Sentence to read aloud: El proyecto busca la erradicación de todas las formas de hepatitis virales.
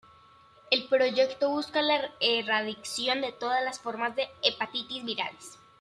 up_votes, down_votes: 0, 2